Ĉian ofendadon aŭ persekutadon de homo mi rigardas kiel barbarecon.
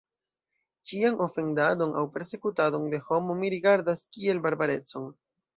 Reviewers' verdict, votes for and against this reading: rejected, 1, 2